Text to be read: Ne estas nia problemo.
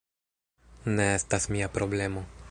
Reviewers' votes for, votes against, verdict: 1, 2, rejected